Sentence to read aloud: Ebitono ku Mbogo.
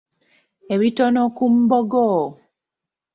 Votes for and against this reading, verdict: 2, 0, accepted